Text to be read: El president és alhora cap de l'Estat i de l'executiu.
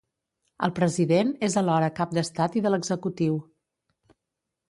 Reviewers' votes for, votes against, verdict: 0, 2, rejected